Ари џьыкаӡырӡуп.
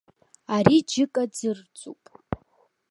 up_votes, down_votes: 2, 0